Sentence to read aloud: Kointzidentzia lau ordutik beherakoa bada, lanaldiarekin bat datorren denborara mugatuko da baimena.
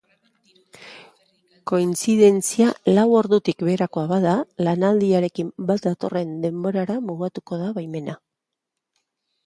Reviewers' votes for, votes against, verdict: 3, 0, accepted